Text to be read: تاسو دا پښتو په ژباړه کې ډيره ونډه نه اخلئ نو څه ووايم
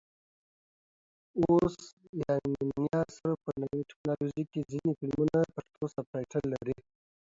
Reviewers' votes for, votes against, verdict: 0, 2, rejected